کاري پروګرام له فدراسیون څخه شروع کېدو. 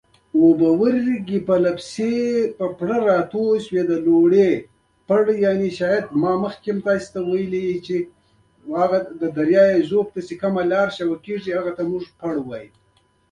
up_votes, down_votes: 1, 2